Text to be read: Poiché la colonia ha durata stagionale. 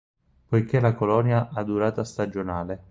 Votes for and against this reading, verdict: 4, 0, accepted